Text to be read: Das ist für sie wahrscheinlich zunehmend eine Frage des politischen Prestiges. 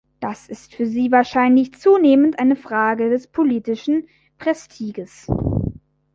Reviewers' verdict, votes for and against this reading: rejected, 1, 2